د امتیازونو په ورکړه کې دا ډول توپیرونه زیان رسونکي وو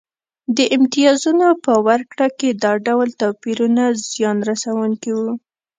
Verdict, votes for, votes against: accepted, 2, 0